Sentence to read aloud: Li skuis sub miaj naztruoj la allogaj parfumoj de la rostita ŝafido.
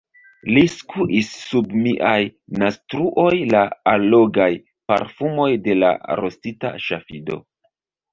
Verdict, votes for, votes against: rejected, 1, 2